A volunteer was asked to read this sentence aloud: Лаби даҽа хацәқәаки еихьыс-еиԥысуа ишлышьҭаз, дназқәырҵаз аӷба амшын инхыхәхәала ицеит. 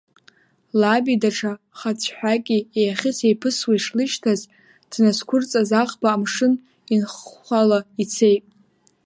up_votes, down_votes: 2, 1